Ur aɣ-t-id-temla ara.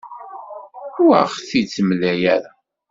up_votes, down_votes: 2, 1